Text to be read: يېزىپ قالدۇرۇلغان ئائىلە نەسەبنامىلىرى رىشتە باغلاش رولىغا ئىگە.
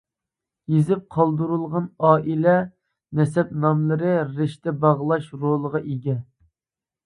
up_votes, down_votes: 1, 2